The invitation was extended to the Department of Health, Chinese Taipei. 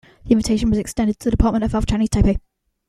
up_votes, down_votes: 1, 2